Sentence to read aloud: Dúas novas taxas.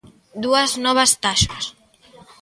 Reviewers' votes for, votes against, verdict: 2, 0, accepted